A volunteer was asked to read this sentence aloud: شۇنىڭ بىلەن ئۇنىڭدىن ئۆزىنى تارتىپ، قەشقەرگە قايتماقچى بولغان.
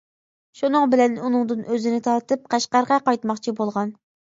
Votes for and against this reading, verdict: 2, 0, accepted